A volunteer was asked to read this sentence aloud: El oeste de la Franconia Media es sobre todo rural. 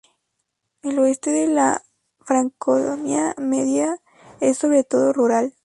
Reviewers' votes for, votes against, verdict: 0, 2, rejected